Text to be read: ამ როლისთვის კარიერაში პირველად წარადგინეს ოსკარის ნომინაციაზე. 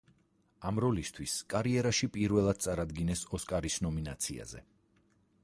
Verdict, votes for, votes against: accepted, 4, 0